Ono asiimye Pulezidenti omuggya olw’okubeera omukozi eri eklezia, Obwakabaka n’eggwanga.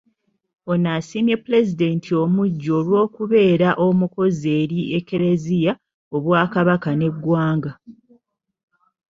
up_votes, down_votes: 2, 0